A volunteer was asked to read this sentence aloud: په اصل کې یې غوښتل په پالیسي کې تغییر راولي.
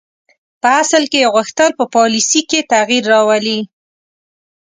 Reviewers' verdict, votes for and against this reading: rejected, 1, 2